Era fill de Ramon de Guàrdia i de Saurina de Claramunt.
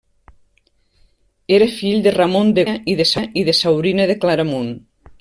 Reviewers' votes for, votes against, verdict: 1, 2, rejected